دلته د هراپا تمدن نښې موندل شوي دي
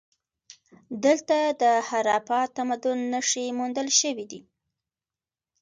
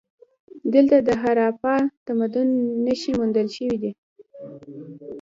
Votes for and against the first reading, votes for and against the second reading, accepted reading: 3, 0, 1, 2, first